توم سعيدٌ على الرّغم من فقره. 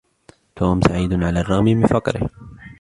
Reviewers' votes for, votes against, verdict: 2, 0, accepted